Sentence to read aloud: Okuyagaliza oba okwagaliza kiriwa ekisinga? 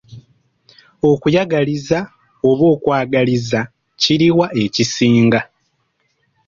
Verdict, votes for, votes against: rejected, 1, 2